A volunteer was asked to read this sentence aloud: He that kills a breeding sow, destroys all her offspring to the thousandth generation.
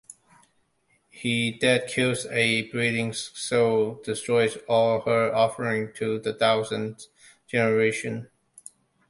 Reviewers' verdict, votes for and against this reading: accepted, 2, 1